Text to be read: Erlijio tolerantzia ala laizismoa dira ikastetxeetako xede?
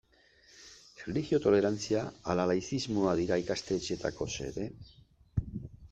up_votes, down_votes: 2, 0